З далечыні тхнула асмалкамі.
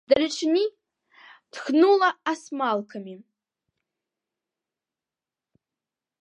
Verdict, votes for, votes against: rejected, 1, 2